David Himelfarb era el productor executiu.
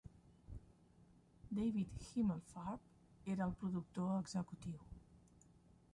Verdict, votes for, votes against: rejected, 0, 2